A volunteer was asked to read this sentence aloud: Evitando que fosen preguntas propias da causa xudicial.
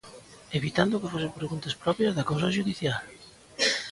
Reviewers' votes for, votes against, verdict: 2, 1, accepted